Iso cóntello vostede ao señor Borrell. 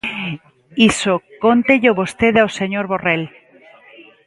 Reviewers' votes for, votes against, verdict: 2, 0, accepted